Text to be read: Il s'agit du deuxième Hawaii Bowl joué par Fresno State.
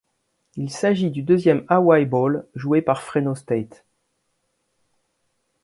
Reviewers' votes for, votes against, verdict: 2, 0, accepted